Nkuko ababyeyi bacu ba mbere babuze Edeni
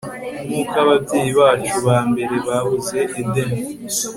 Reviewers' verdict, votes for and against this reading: accepted, 2, 0